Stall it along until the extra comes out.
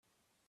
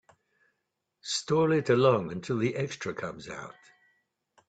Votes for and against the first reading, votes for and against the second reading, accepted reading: 0, 2, 3, 0, second